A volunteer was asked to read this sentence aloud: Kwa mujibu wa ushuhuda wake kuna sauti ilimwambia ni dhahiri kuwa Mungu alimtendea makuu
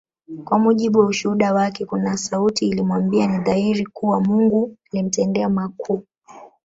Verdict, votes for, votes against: rejected, 0, 2